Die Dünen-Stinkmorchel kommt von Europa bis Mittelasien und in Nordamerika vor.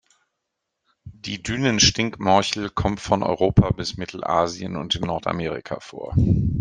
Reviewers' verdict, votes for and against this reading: accepted, 2, 1